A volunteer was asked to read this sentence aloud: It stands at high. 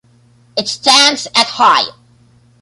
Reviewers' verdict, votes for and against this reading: accepted, 2, 0